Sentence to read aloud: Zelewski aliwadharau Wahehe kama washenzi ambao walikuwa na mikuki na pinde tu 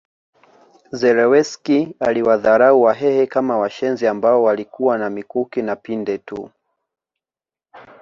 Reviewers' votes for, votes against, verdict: 1, 2, rejected